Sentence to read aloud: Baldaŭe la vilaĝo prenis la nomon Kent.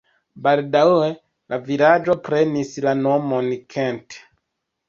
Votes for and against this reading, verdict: 2, 1, accepted